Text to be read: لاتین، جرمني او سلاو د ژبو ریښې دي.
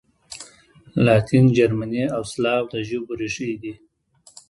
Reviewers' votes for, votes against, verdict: 2, 1, accepted